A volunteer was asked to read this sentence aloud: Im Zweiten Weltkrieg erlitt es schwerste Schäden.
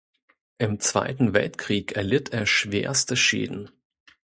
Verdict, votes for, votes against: rejected, 0, 2